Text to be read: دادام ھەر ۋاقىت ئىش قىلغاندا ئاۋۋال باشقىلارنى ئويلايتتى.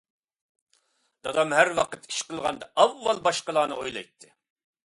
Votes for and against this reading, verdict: 2, 0, accepted